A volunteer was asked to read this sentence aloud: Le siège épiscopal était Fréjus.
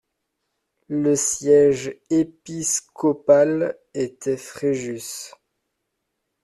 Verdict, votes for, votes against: accepted, 2, 0